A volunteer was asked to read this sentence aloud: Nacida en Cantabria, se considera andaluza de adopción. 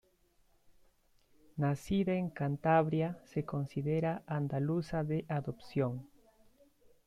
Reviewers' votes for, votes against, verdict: 2, 0, accepted